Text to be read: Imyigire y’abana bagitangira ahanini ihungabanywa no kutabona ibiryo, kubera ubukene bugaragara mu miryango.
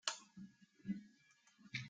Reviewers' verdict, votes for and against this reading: rejected, 0, 2